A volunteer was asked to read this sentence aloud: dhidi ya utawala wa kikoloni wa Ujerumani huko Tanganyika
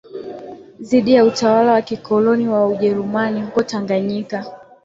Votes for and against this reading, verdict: 1, 2, rejected